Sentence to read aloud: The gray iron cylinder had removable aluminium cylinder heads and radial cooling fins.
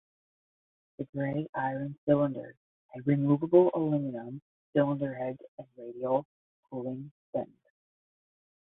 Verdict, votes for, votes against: rejected, 0, 10